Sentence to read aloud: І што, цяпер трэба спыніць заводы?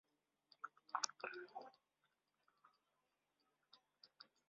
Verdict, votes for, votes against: rejected, 0, 2